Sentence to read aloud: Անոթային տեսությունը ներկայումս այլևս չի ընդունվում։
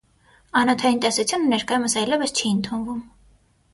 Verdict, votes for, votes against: accepted, 6, 0